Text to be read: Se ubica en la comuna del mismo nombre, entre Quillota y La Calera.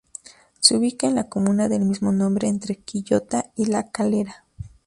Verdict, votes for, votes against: accepted, 2, 0